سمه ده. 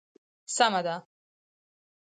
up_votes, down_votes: 4, 2